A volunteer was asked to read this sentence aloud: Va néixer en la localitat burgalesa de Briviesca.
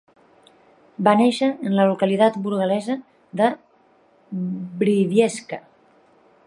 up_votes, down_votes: 1, 2